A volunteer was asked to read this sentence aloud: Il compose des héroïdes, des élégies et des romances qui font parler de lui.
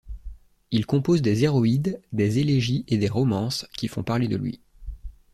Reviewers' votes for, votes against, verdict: 3, 0, accepted